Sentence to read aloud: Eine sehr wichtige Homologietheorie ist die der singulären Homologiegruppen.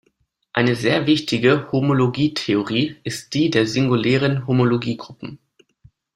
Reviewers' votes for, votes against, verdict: 2, 0, accepted